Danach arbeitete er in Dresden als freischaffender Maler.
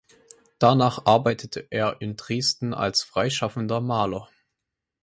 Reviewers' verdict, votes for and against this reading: accepted, 4, 0